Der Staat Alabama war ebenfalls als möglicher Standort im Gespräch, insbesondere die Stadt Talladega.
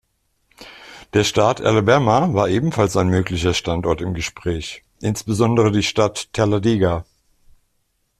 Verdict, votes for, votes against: rejected, 1, 2